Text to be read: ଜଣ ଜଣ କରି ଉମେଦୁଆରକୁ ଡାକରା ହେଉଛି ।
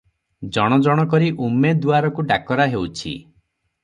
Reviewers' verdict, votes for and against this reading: accepted, 6, 0